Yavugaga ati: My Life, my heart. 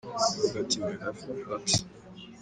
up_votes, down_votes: 4, 0